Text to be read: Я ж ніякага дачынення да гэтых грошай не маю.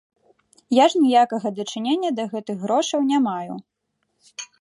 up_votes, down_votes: 1, 3